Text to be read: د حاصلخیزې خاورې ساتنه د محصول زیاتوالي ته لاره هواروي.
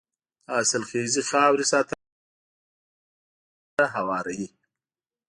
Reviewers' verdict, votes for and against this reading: rejected, 0, 2